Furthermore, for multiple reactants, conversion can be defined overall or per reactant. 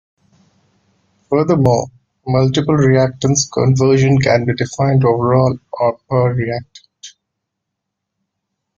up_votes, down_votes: 1, 2